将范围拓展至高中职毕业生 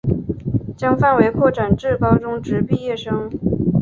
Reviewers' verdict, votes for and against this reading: accepted, 2, 0